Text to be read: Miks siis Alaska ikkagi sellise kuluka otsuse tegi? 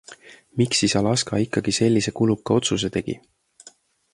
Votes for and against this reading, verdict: 2, 0, accepted